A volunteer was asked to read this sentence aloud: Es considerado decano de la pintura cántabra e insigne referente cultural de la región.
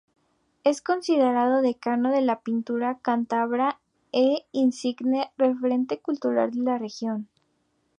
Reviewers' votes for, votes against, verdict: 2, 0, accepted